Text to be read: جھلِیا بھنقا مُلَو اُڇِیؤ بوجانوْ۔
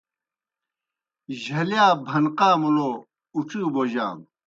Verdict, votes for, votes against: accepted, 2, 0